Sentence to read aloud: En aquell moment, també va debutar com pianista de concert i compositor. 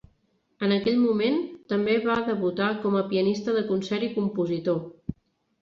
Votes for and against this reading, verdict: 0, 2, rejected